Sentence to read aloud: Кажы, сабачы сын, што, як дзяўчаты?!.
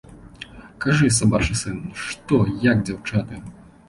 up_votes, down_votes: 2, 0